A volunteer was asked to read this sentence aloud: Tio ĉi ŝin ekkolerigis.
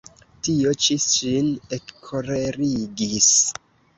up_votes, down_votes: 1, 2